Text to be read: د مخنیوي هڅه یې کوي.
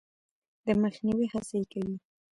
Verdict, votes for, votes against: rejected, 1, 2